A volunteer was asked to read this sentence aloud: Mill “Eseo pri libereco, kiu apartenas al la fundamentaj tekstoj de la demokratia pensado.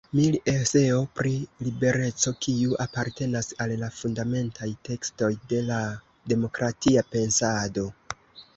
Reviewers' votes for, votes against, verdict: 2, 0, accepted